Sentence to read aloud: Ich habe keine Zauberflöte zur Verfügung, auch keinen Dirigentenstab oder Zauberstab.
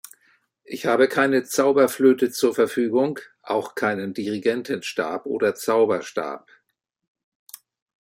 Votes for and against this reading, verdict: 2, 0, accepted